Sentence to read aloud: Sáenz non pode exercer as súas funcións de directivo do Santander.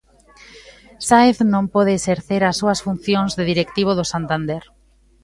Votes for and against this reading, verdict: 2, 1, accepted